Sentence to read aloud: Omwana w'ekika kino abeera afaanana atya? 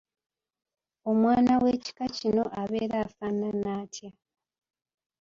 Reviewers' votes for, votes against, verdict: 0, 2, rejected